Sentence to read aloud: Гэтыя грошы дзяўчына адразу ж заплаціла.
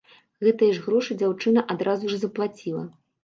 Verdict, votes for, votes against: rejected, 0, 2